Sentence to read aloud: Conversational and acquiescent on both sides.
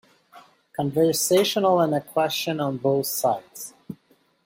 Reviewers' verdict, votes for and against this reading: rejected, 1, 2